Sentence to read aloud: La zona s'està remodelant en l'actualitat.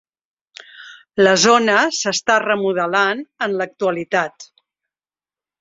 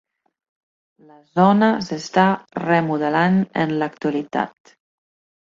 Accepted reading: first